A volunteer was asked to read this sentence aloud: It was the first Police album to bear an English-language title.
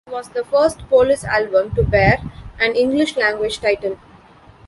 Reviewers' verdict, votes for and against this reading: accepted, 2, 1